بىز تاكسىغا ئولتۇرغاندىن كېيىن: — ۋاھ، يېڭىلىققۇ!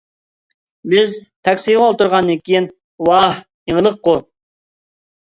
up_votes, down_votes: 0, 2